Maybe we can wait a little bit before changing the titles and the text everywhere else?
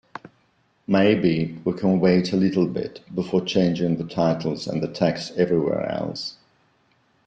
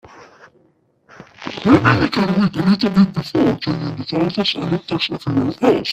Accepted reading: first